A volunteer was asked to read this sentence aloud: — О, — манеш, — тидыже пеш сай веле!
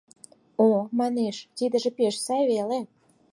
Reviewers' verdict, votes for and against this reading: accepted, 4, 0